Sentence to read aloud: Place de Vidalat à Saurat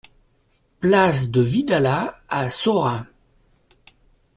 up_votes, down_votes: 2, 0